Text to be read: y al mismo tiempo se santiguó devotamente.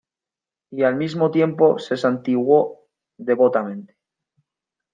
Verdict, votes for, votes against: accepted, 2, 0